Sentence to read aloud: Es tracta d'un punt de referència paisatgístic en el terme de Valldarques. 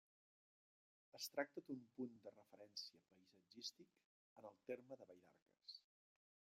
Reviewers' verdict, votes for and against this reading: rejected, 0, 2